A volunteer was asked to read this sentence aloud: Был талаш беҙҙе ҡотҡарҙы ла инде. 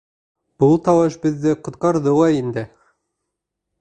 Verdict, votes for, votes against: accepted, 2, 0